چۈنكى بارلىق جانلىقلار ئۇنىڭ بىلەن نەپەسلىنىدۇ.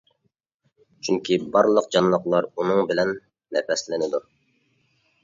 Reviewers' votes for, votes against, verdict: 2, 0, accepted